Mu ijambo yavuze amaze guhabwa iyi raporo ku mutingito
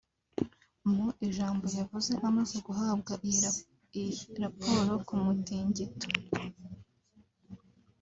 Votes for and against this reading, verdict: 0, 2, rejected